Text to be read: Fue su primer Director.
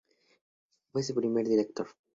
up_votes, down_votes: 2, 0